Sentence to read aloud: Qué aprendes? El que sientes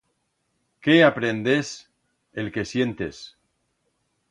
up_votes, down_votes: 2, 0